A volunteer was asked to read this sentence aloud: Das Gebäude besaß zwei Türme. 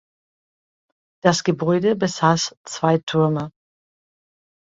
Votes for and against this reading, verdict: 3, 0, accepted